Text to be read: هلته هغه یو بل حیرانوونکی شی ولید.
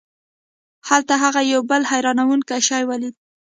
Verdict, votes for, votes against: rejected, 1, 2